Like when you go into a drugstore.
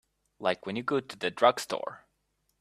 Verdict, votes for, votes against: rejected, 0, 2